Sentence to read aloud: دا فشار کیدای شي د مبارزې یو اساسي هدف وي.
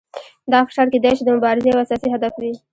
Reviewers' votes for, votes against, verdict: 2, 0, accepted